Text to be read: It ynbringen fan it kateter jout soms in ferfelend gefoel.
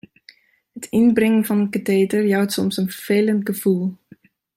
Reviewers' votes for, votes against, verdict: 0, 2, rejected